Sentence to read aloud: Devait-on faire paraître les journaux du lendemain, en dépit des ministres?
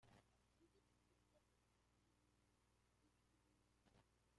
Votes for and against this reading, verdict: 0, 2, rejected